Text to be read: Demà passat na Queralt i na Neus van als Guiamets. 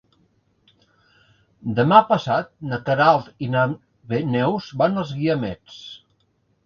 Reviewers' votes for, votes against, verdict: 2, 3, rejected